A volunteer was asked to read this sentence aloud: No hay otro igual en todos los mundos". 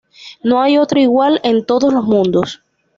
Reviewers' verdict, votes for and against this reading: accepted, 2, 0